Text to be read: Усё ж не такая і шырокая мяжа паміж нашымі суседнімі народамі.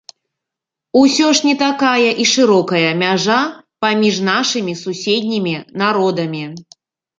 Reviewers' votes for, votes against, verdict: 2, 0, accepted